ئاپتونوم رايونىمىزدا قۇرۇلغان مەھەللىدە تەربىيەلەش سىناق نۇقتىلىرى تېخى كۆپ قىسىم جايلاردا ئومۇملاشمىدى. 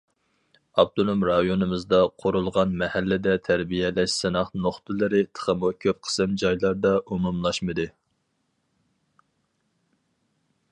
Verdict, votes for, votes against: rejected, 0, 4